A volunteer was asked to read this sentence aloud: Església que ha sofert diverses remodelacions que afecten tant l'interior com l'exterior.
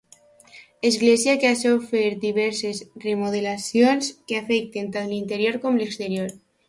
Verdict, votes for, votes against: accepted, 2, 0